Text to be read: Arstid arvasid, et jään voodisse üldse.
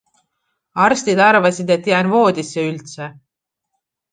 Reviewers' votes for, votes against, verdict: 2, 0, accepted